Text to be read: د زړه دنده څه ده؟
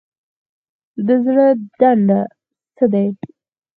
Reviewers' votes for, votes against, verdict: 2, 4, rejected